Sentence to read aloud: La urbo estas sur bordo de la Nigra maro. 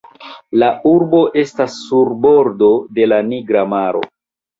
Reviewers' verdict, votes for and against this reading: accepted, 2, 0